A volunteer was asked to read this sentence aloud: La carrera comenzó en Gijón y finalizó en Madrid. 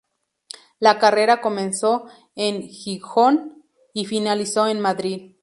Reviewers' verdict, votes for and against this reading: rejected, 0, 4